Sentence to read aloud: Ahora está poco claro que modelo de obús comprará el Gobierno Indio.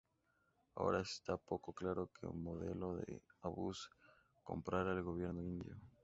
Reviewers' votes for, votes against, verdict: 0, 2, rejected